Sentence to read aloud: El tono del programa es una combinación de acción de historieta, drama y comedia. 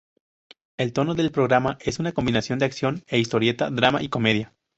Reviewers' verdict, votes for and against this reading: accepted, 2, 0